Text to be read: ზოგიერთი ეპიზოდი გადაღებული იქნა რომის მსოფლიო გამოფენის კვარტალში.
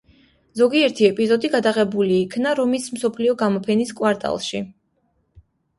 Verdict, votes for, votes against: accepted, 2, 0